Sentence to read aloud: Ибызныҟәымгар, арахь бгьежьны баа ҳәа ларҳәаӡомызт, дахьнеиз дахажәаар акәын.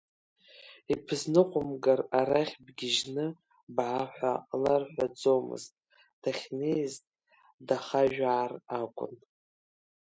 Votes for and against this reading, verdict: 2, 0, accepted